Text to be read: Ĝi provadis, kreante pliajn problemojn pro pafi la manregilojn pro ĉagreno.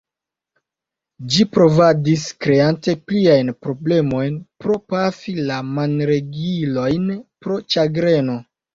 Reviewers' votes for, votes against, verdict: 2, 0, accepted